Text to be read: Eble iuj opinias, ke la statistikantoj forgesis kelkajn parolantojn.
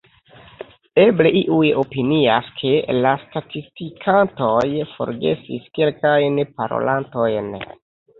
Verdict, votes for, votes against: accepted, 2, 1